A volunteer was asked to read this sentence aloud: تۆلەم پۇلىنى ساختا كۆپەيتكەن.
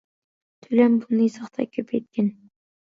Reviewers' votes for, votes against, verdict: 1, 2, rejected